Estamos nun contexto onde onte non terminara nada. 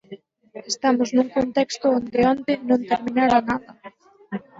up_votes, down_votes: 0, 4